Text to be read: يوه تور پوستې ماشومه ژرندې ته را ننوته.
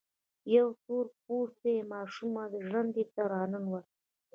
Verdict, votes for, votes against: accepted, 2, 0